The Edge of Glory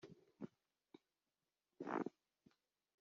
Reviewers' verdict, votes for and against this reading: rejected, 0, 2